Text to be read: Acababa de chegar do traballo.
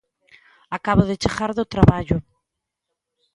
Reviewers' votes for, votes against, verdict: 1, 2, rejected